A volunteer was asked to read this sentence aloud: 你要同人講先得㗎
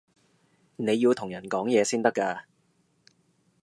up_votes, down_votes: 1, 2